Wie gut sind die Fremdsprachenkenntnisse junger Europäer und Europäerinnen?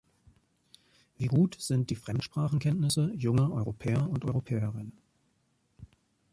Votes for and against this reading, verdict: 2, 0, accepted